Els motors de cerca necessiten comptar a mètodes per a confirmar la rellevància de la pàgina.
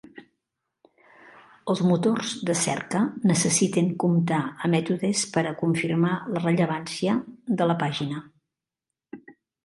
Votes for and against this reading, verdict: 4, 0, accepted